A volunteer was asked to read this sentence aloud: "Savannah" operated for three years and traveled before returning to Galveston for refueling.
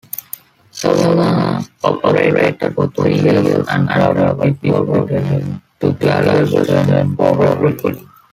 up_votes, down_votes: 1, 2